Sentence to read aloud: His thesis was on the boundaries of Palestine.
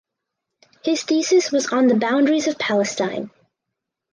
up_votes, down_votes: 4, 0